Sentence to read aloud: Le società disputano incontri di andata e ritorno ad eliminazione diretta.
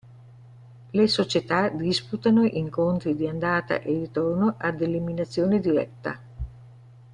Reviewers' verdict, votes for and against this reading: accepted, 2, 0